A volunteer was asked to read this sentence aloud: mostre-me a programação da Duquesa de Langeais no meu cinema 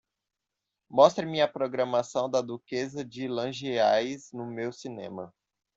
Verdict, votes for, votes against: accepted, 2, 0